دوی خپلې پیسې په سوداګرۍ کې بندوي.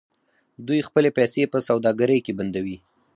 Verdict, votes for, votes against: rejected, 2, 4